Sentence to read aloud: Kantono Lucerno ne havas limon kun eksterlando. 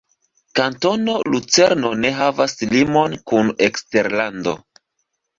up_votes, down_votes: 2, 0